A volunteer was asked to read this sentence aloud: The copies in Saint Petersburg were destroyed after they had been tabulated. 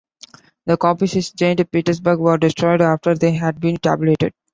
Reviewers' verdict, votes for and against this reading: rejected, 1, 2